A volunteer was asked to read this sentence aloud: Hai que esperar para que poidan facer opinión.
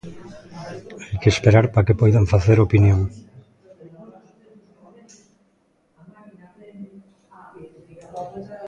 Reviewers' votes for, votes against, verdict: 0, 2, rejected